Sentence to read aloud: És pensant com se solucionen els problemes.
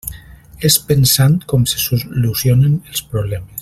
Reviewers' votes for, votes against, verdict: 1, 2, rejected